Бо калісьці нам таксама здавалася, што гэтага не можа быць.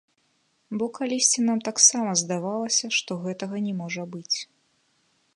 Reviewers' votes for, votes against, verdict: 0, 2, rejected